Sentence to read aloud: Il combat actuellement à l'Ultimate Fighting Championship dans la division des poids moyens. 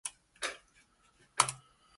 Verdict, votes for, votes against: rejected, 0, 2